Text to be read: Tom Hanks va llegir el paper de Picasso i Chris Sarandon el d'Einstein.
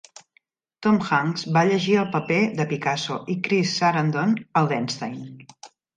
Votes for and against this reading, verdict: 2, 0, accepted